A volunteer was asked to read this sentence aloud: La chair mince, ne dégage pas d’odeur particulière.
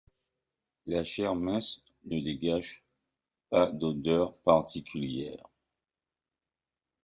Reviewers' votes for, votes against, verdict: 2, 1, accepted